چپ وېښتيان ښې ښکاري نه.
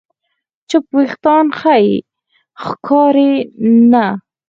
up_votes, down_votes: 2, 4